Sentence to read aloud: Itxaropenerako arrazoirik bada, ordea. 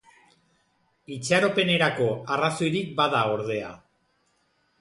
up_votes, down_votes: 2, 0